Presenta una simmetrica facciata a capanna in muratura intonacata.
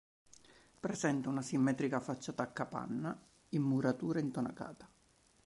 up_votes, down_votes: 3, 1